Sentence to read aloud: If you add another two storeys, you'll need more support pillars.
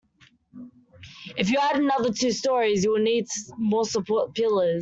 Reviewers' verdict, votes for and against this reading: accepted, 2, 0